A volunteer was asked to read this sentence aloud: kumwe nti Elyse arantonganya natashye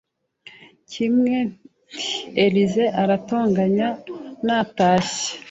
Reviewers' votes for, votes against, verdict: 0, 2, rejected